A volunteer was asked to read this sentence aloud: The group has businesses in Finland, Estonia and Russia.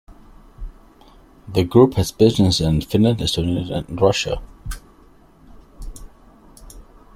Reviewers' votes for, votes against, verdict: 1, 2, rejected